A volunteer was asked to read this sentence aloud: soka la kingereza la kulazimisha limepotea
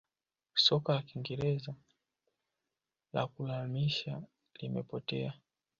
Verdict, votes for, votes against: accepted, 2, 1